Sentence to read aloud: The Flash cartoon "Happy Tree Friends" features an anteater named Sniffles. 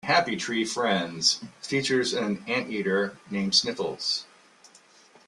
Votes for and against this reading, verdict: 1, 2, rejected